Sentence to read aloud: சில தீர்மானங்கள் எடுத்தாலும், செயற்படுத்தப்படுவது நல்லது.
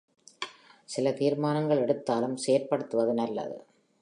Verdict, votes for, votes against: rejected, 1, 2